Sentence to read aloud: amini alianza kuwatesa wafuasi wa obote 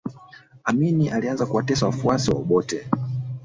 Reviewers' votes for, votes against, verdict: 1, 2, rejected